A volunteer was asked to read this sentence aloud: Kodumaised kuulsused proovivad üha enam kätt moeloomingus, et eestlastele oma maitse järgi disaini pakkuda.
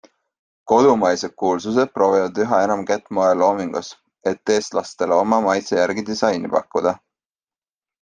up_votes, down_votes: 2, 0